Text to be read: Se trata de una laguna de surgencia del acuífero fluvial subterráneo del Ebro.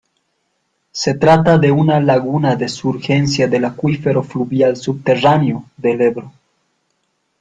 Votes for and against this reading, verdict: 0, 2, rejected